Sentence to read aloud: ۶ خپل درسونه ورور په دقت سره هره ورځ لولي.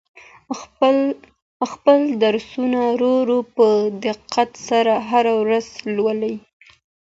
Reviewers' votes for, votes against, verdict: 0, 2, rejected